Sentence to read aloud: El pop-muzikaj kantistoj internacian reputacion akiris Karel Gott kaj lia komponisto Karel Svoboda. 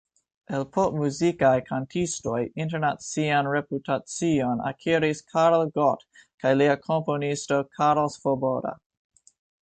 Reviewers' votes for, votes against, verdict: 2, 0, accepted